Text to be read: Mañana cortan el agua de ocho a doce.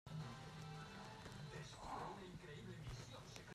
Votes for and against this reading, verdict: 0, 2, rejected